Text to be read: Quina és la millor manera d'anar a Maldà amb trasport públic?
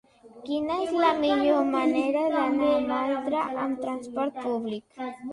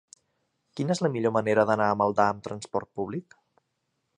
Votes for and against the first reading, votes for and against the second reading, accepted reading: 0, 2, 3, 0, second